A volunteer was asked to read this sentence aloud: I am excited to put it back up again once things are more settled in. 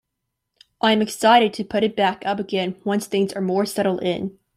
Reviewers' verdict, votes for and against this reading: accepted, 2, 0